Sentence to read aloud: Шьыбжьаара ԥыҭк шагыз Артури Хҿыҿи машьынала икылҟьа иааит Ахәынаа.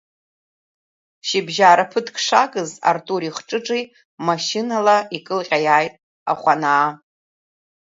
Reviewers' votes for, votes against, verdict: 2, 1, accepted